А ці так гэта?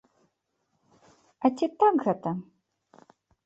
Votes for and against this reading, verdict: 2, 0, accepted